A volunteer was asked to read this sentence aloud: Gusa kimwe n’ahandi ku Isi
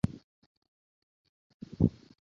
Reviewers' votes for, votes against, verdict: 0, 2, rejected